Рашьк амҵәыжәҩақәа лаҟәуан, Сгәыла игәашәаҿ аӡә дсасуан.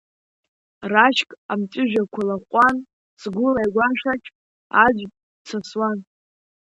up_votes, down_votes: 2, 0